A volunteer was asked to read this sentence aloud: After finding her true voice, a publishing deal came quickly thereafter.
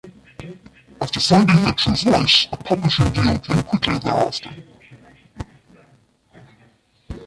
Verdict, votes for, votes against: rejected, 0, 2